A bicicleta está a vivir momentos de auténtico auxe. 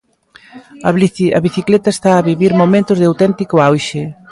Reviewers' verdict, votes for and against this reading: rejected, 0, 2